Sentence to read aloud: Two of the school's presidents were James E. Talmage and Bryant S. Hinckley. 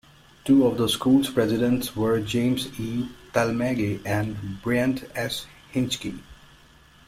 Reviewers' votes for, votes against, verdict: 0, 2, rejected